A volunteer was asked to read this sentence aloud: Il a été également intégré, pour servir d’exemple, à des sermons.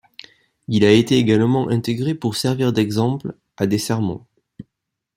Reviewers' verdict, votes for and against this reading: accepted, 2, 0